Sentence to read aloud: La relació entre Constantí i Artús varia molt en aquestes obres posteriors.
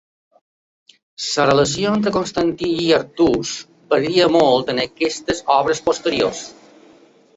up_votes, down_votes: 0, 2